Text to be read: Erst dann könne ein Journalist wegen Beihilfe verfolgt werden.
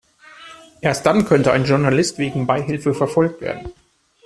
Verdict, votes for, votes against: rejected, 0, 2